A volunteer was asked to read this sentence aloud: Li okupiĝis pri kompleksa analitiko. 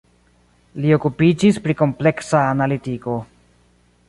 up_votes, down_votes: 2, 0